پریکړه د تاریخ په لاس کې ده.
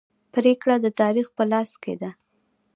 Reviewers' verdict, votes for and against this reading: rejected, 1, 2